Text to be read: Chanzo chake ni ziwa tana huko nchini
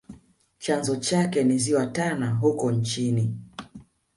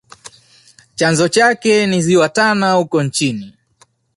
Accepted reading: second